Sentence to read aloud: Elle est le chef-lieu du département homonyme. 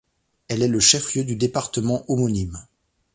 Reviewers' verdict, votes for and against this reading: accepted, 2, 0